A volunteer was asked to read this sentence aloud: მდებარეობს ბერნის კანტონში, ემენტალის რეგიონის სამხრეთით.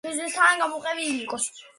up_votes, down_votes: 0, 2